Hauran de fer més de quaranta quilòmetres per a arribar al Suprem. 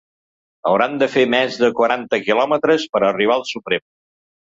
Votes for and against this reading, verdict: 2, 0, accepted